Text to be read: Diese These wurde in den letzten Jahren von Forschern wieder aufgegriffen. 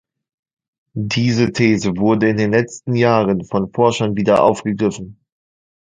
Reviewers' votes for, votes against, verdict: 1, 2, rejected